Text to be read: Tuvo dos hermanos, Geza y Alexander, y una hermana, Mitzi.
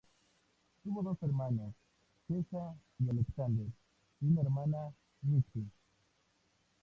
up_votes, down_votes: 2, 0